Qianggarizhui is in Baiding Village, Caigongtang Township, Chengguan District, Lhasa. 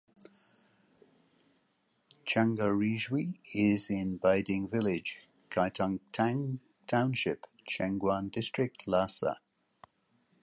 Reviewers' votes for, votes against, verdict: 0, 2, rejected